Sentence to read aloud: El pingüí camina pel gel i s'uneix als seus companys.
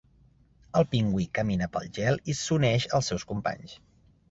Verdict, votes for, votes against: accepted, 3, 0